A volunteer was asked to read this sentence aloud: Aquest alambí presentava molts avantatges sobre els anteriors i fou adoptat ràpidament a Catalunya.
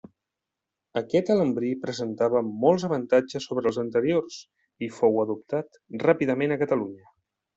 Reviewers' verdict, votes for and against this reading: rejected, 1, 2